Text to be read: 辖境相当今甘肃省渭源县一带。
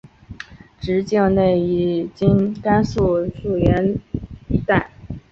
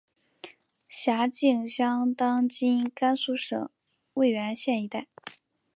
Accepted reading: second